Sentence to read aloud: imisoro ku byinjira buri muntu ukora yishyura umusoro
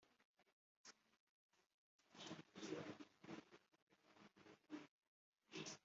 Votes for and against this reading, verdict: 1, 3, rejected